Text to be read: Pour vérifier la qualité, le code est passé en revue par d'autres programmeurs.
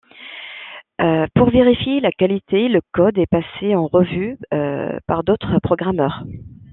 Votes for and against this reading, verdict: 1, 2, rejected